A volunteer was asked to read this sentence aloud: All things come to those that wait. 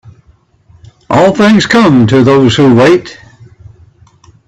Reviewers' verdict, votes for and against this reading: rejected, 1, 2